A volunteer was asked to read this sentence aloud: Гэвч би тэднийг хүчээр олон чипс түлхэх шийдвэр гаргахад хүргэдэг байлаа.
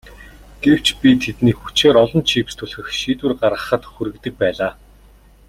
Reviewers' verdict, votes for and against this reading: accepted, 2, 0